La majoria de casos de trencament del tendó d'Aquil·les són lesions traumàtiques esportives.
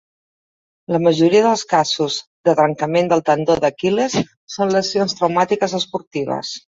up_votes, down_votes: 0, 2